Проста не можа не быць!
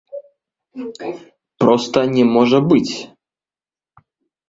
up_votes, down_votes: 1, 2